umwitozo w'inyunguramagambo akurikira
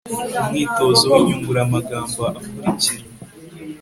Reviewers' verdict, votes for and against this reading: accepted, 2, 0